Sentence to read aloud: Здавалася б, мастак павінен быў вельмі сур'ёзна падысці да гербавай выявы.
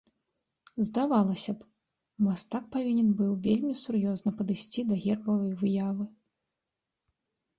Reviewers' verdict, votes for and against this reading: accepted, 2, 1